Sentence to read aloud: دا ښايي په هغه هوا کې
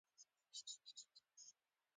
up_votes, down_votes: 2, 1